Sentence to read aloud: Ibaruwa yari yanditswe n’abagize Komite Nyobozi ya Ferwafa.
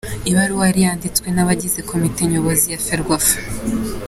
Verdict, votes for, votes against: accepted, 3, 0